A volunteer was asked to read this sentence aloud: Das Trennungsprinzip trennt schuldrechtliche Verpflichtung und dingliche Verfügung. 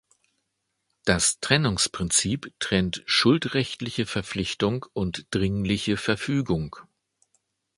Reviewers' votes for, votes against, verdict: 1, 2, rejected